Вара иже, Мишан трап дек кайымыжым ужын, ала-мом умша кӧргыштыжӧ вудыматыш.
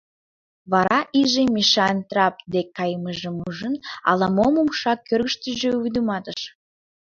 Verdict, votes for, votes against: rejected, 0, 2